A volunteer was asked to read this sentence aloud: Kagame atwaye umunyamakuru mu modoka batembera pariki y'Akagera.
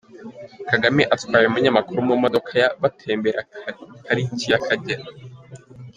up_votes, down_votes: 0, 2